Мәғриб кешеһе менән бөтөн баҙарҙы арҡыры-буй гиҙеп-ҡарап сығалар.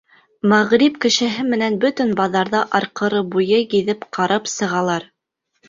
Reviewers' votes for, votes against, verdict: 3, 1, accepted